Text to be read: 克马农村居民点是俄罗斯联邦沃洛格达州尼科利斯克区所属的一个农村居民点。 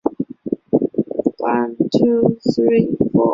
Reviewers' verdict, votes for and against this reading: rejected, 0, 2